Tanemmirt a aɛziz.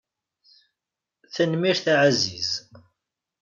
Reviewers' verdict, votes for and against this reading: rejected, 1, 2